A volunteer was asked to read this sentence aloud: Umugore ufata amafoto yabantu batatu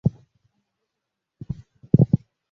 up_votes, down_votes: 0, 2